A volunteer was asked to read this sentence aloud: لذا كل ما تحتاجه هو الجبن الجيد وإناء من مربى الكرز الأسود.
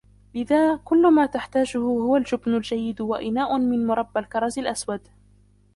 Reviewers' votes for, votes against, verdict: 0, 2, rejected